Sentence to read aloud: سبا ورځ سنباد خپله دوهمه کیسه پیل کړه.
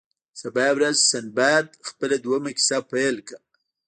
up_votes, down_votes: 2, 0